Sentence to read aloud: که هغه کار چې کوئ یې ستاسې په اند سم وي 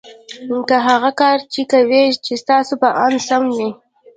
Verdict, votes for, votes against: accepted, 2, 0